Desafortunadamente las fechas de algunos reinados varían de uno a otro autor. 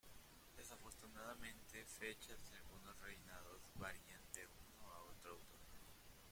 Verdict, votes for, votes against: rejected, 0, 2